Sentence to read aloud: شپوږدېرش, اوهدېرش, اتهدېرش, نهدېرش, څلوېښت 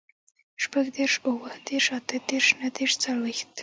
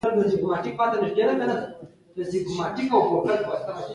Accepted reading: first